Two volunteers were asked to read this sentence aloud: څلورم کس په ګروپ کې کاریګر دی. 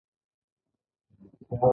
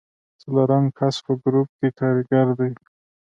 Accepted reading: second